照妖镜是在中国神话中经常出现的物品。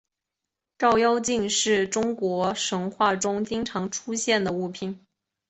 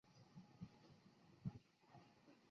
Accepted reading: first